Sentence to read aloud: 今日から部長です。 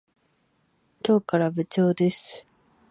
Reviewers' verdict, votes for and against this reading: accepted, 4, 0